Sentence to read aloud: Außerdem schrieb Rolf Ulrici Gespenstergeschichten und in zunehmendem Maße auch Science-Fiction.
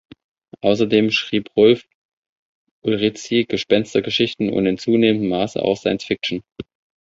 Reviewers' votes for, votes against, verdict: 1, 2, rejected